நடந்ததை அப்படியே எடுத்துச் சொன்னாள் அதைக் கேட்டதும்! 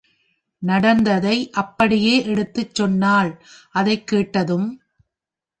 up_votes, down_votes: 2, 0